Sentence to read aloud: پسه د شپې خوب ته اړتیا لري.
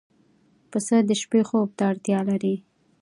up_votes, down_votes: 1, 2